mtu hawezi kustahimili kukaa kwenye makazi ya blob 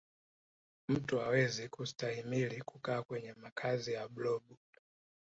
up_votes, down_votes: 1, 2